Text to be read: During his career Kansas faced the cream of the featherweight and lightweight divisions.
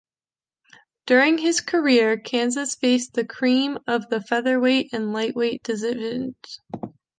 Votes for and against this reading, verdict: 0, 3, rejected